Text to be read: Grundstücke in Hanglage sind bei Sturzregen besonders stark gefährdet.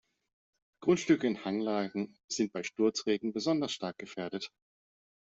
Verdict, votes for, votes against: rejected, 0, 2